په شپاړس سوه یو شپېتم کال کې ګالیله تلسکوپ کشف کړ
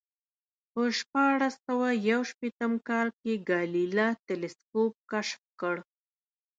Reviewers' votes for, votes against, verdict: 1, 2, rejected